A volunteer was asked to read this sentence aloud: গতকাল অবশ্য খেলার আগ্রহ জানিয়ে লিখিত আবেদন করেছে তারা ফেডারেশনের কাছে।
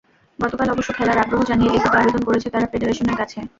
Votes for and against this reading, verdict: 0, 2, rejected